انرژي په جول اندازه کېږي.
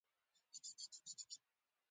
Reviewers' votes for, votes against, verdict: 1, 2, rejected